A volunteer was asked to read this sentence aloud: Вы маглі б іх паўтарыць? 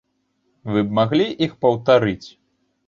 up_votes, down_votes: 1, 2